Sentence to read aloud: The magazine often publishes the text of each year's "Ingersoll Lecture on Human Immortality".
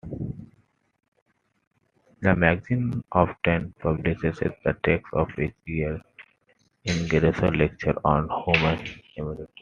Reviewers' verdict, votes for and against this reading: rejected, 1, 2